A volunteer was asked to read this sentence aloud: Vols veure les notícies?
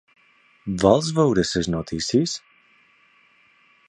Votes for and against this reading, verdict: 1, 2, rejected